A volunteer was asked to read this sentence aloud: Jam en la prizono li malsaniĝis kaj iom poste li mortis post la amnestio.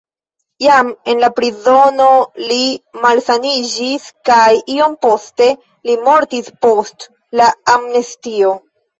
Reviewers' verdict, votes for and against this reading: accepted, 2, 0